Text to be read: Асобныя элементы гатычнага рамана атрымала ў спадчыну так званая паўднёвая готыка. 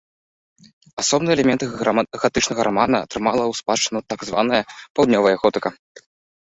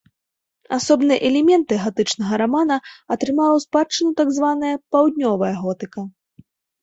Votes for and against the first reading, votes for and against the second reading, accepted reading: 0, 2, 3, 0, second